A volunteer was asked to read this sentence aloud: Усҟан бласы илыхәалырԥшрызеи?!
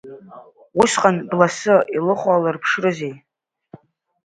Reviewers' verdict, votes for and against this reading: accepted, 2, 0